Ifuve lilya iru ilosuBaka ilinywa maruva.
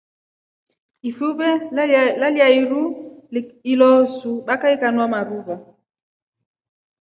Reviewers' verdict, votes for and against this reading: accepted, 2, 1